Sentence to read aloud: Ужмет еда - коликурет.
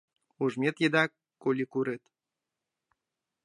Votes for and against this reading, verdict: 2, 0, accepted